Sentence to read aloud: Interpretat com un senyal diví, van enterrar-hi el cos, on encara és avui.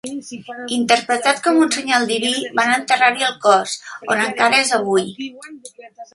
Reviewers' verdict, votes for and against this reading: rejected, 0, 2